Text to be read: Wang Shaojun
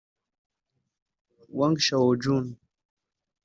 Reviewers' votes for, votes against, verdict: 1, 2, rejected